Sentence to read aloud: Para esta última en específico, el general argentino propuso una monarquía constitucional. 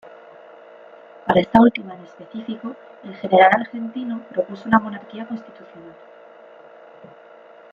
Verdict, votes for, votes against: rejected, 1, 2